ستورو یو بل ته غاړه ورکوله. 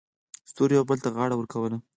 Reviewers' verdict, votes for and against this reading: rejected, 2, 4